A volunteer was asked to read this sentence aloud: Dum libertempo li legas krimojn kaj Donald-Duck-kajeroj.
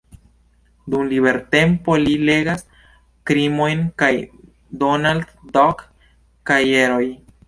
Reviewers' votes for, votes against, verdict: 1, 2, rejected